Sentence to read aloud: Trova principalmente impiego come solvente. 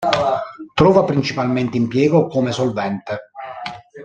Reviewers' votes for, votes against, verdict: 1, 2, rejected